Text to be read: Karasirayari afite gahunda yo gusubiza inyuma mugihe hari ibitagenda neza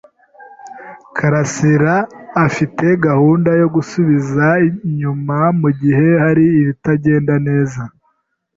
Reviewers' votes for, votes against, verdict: 1, 2, rejected